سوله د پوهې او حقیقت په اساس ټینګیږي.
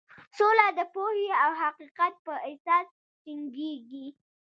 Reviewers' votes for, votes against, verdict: 1, 2, rejected